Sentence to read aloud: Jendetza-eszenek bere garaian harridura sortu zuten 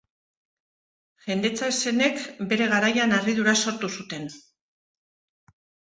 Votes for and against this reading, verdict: 2, 0, accepted